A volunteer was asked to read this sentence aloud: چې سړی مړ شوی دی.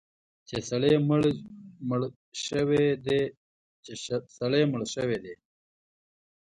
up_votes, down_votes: 1, 2